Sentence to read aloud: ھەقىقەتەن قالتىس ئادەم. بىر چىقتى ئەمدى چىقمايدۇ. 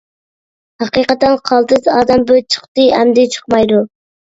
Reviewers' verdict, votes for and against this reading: accepted, 2, 0